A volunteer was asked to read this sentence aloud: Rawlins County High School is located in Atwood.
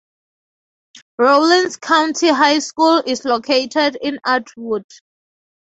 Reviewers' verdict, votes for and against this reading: accepted, 4, 0